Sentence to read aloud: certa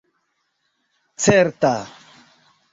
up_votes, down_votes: 0, 2